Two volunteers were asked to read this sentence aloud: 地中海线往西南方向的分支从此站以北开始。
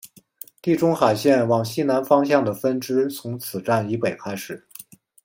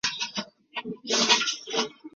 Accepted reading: first